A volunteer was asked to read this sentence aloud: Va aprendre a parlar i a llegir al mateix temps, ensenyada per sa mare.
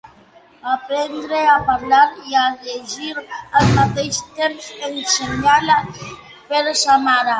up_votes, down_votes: 2, 0